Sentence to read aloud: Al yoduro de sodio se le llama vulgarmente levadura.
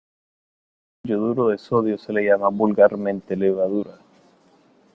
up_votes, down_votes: 2, 0